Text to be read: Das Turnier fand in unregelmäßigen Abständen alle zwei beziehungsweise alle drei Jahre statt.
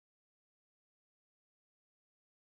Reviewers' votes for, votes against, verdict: 0, 2, rejected